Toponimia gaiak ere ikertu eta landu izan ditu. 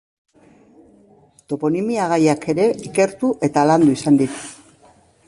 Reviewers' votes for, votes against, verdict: 1, 2, rejected